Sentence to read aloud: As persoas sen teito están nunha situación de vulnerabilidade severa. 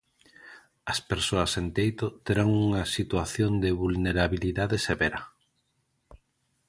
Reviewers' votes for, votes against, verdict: 0, 2, rejected